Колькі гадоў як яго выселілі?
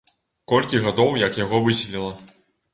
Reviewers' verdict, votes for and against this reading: rejected, 0, 2